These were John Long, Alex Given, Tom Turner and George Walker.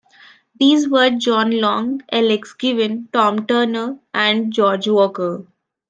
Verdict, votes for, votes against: accepted, 2, 0